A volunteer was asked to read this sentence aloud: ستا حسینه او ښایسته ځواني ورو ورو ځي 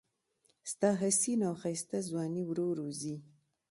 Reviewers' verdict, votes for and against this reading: accepted, 2, 1